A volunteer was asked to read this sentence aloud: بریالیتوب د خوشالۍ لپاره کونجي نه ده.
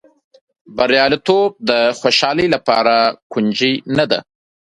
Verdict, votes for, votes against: accepted, 2, 0